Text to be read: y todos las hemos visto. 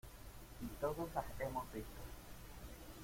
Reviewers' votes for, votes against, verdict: 0, 2, rejected